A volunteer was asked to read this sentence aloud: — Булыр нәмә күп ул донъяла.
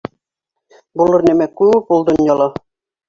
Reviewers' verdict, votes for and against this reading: accepted, 2, 0